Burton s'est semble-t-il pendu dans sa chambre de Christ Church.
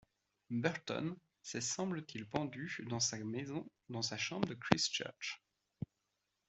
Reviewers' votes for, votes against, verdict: 0, 2, rejected